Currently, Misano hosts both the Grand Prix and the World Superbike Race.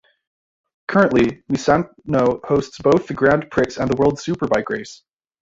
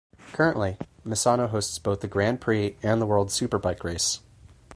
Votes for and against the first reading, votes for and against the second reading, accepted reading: 0, 2, 4, 0, second